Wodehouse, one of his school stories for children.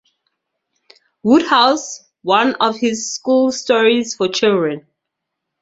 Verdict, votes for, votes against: rejected, 2, 2